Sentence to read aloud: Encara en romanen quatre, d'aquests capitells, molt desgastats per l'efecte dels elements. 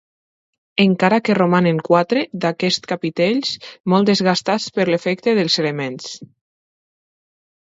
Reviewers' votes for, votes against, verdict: 1, 2, rejected